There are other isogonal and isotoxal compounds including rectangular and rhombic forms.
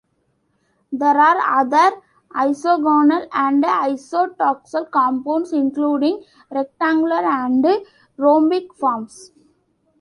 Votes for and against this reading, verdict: 2, 0, accepted